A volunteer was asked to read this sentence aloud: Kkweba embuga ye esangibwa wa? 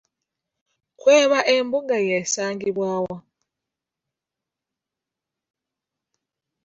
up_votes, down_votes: 1, 2